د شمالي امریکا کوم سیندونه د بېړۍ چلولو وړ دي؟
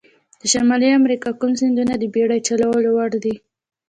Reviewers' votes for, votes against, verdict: 2, 0, accepted